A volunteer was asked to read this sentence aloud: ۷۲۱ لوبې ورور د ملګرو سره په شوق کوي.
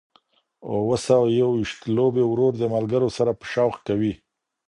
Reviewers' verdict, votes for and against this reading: rejected, 0, 2